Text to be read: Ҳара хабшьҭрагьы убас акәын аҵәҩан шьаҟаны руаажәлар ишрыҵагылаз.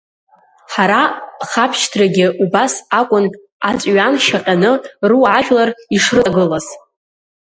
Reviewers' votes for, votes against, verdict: 0, 2, rejected